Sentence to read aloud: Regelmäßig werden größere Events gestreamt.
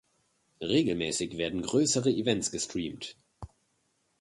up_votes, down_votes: 2, 0